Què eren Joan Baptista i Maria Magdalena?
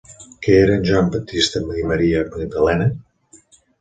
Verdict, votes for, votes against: rejected, 1, 2